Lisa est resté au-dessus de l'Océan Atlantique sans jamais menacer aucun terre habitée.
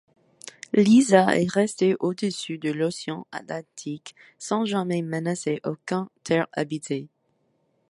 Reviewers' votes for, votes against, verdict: 2, 0, accepted